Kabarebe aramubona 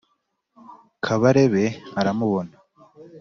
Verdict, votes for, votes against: accepted, 2, 0